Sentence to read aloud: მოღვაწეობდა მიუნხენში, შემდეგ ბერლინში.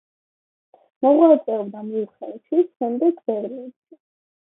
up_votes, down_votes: 1, 2